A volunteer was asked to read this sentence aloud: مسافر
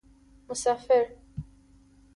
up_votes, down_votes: 2, 1